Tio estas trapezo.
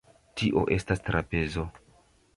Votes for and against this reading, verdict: 1, 2, rejected